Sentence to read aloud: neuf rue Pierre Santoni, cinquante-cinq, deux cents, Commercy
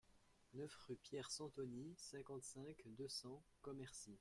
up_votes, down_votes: 2, 0